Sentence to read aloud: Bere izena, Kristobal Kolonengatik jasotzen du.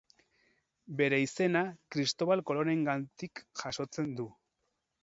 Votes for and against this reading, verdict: 0, 4, rejected